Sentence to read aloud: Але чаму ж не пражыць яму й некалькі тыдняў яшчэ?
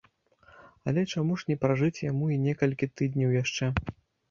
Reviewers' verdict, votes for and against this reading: accepted, 2, 0